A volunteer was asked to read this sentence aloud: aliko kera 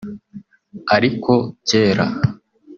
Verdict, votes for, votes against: rejected, 1, 2